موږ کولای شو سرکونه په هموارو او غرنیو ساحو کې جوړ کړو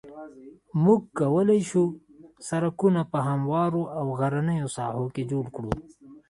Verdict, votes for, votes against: rejected, 1, 2